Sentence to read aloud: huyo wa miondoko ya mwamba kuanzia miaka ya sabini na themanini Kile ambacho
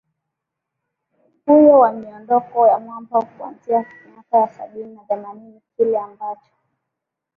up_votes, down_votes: 2, 1